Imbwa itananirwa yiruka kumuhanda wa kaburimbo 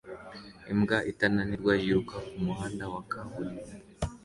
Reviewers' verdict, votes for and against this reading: accepted, 2, 0